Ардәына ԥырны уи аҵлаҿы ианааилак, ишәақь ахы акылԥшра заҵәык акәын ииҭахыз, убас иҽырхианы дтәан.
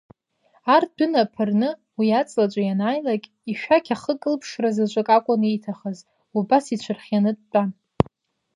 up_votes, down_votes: 2, 0